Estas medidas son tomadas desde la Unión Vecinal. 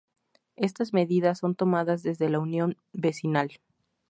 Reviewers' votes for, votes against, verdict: 2, 0, accepted